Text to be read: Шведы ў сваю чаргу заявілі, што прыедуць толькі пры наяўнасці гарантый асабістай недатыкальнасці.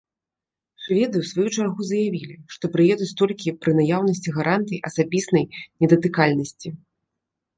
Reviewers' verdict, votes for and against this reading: rejected, 1, 2